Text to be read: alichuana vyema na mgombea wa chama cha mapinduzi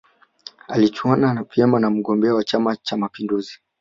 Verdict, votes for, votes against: accepted, 2, 0